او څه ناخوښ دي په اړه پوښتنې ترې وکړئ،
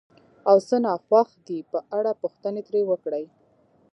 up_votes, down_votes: 0, 2